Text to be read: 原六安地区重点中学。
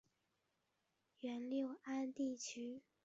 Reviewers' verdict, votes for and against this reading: rejected, 1, 2